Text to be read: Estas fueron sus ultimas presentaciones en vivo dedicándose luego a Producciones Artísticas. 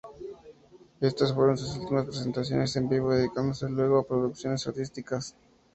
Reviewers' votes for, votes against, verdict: 0, 4, rejected